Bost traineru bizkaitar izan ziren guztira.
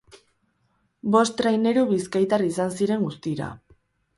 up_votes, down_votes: 0, 2